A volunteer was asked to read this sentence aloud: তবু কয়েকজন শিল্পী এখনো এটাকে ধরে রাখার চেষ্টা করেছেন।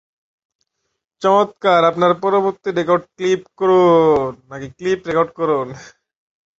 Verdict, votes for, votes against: rejected, 0, 2